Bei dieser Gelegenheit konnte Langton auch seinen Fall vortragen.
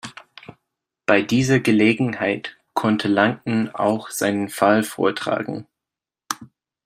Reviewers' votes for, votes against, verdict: 2, 0, accepted